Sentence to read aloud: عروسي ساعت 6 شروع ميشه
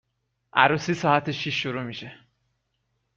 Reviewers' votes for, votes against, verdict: 0, 2, rejected